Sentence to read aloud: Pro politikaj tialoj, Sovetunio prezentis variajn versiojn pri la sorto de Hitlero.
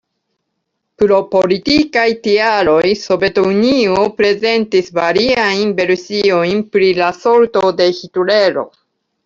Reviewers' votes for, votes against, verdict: 0, 2, rejected